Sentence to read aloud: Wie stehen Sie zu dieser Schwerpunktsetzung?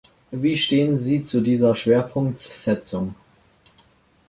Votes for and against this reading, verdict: 0, 2, rejected